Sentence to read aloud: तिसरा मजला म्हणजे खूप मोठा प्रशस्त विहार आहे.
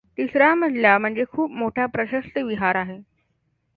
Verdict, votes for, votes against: accepted, 2, 0